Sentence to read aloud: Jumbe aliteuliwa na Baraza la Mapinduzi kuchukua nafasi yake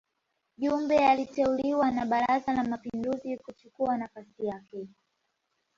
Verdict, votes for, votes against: accepted, 2, 0